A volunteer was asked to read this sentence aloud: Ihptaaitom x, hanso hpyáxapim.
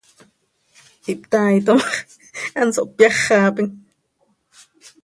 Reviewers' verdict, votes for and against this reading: rejected, 1, 2